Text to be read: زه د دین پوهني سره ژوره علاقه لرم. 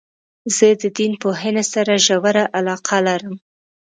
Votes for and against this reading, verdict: 1, 2, rejected